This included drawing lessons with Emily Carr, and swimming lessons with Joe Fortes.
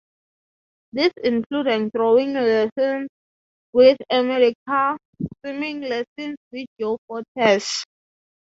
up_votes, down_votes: 3, 3